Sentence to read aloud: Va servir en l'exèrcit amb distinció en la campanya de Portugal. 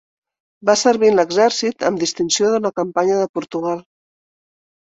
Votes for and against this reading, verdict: 0, 2, rejected